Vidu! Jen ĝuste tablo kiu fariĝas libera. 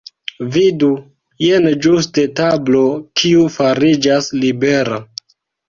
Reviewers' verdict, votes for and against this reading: accepted, 2, 0